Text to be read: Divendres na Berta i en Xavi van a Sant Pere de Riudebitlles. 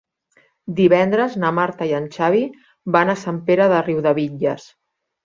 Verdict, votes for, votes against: rejected, 0, 2